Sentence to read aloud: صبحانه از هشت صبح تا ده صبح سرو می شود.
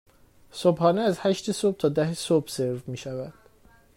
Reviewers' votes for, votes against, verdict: 2, 0, accepted